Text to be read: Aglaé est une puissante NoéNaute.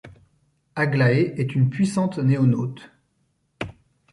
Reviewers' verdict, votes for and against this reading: rejected, 1, 2